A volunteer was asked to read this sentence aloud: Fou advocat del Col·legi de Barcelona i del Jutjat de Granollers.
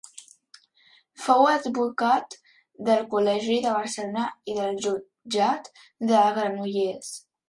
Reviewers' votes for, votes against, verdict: 0, 2, rejected